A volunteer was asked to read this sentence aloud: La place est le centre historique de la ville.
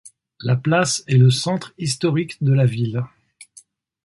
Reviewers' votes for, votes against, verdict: 4, 0, accepted